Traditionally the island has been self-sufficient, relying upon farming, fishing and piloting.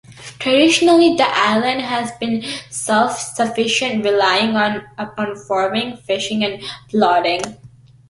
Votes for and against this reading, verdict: 0, 2, rejected